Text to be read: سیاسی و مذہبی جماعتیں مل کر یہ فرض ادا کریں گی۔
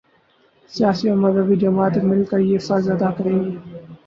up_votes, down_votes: 22, 6